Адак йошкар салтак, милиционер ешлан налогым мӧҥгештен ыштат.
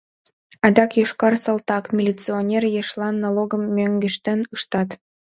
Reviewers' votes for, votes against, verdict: 2, 0, accepted